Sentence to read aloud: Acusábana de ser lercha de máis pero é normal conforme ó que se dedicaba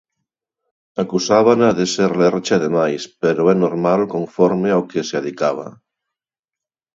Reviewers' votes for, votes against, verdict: 2, 0, accepted